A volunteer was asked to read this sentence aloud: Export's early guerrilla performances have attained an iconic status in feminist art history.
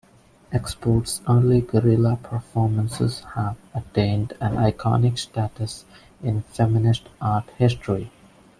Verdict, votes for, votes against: accepted, 2, 0